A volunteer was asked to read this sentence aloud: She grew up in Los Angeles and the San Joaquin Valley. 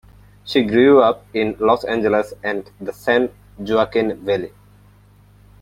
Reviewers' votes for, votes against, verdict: 2, 0, accepted